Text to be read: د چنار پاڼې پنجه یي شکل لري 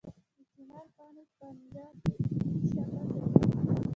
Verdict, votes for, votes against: rejected, 1, 2